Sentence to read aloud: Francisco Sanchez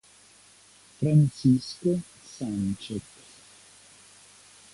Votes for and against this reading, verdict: 2, 0, accepted